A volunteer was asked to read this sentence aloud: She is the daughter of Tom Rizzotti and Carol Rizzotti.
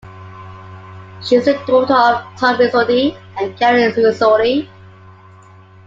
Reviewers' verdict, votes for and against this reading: accepted, 2, 1